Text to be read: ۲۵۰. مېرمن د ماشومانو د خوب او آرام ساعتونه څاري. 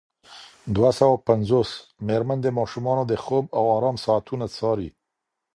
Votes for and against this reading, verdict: 0, 2, rejected